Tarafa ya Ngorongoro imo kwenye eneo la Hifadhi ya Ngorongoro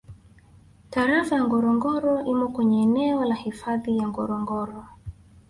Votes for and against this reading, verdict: 1, 2, rejected